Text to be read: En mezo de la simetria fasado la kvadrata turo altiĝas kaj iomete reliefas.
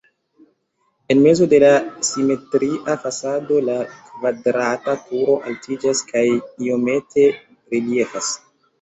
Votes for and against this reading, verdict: 2, 0, accepted